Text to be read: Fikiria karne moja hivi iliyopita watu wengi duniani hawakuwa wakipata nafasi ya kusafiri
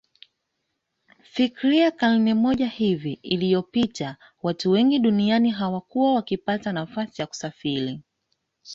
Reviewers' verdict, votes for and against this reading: accepted, 2, 0